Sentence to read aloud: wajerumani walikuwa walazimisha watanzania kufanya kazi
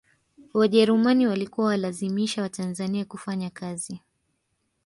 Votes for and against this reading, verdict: 2, 1, accepted